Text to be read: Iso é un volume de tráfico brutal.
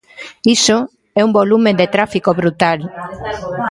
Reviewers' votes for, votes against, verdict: 0, 2, rejected